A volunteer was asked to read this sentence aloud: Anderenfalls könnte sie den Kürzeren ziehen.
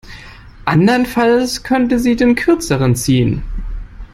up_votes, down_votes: 2, 0